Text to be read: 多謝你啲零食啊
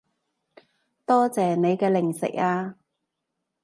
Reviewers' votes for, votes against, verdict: 0, 2, rejected